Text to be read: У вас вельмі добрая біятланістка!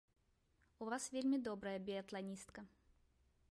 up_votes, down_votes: 1, 2